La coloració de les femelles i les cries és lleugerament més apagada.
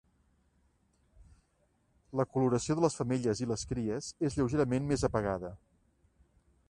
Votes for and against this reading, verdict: 3, 0, accepted